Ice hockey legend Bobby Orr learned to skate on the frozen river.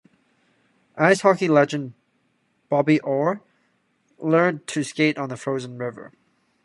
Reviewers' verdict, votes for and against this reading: accepted, 2, 1